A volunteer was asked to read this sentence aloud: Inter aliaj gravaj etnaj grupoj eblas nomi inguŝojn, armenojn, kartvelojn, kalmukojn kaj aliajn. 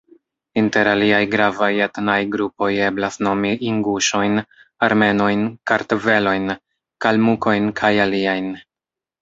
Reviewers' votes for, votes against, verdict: 1, 2, rejected